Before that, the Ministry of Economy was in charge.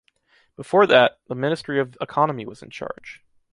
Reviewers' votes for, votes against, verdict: 2, 0, accepted